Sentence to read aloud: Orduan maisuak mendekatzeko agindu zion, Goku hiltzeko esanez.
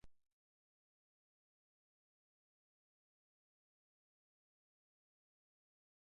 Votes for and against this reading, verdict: 1, 3, rejected